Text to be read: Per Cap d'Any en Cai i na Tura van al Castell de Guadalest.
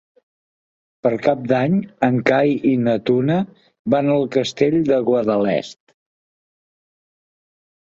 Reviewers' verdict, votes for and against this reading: rejected, 0, 2